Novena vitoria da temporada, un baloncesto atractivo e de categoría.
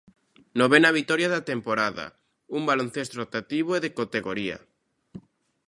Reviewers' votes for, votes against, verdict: 0, 2, rejected